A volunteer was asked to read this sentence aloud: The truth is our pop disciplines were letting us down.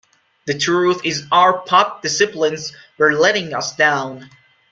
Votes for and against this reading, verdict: 2, 0, accepted